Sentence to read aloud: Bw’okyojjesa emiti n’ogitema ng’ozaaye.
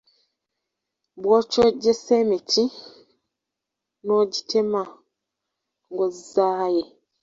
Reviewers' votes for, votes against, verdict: 1, 2, rejected